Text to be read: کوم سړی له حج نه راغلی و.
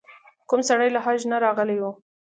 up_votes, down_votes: 2, 0